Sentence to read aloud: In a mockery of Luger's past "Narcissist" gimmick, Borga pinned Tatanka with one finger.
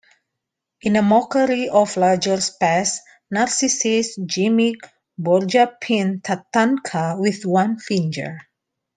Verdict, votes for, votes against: rejected, 0, 2